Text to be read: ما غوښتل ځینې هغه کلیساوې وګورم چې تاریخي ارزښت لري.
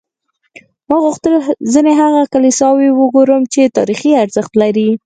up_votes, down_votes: 4, 0